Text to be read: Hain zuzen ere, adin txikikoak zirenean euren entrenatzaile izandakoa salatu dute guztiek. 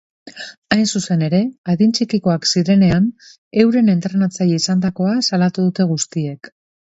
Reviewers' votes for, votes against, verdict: 2, 0, accepted